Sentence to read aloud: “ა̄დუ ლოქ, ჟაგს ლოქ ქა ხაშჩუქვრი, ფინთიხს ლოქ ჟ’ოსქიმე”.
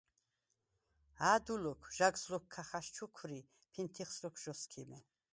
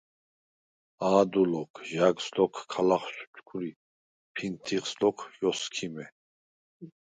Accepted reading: first